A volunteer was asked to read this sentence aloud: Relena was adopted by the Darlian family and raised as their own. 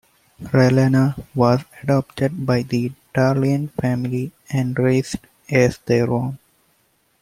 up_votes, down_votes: 1, 2